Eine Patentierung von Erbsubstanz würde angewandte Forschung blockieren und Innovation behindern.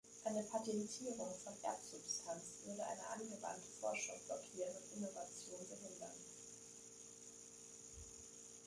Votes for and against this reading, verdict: 1, 3, rejected